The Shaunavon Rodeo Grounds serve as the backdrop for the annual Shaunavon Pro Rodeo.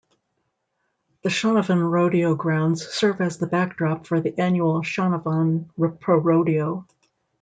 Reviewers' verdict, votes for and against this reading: rejected, 1, 2